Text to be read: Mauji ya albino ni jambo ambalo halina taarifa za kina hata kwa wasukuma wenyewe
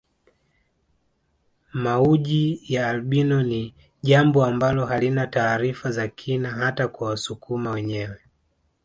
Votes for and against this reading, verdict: 2, 1, accepted